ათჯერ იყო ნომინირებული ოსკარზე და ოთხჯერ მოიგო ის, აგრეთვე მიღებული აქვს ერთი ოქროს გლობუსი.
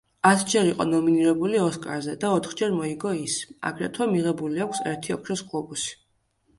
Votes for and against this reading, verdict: 2, 0, accepted